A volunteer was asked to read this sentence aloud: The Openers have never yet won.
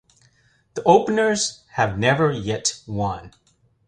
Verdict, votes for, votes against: accepted, 2, 0